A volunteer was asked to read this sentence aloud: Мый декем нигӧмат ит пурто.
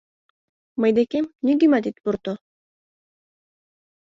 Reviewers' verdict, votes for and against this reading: accepted, 2, 0